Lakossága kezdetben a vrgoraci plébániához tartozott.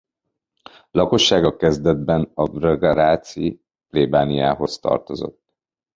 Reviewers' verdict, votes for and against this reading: rejected, 0, 2